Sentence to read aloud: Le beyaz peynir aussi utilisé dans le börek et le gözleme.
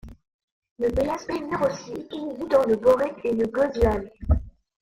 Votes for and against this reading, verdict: 0, 2, rejected